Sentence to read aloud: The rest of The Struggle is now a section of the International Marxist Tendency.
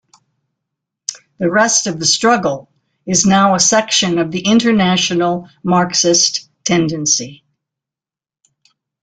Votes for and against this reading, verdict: 2, 0, accepted